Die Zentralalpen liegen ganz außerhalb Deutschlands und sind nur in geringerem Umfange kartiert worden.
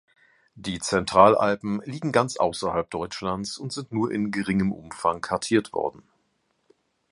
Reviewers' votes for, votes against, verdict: 1, 2, rejected